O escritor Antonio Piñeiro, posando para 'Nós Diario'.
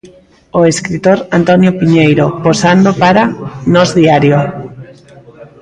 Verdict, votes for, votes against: accepted, 2, 0